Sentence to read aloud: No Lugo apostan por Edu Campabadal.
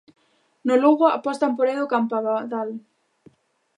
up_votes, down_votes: 1, 2